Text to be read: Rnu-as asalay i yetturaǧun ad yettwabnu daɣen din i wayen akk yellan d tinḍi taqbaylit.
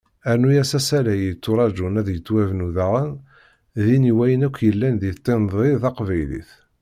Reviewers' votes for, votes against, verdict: 2, 0, accepted